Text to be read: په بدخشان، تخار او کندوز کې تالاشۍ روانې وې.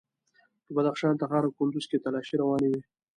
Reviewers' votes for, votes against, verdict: 2, 0, accepted